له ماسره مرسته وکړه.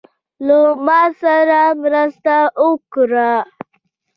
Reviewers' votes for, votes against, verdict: 2, 0, accepted